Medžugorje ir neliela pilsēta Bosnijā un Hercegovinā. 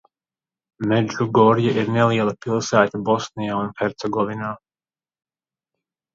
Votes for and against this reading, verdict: 1, 2, rejected